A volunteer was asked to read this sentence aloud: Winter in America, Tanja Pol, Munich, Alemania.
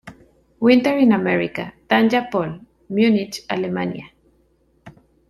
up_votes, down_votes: 2, 0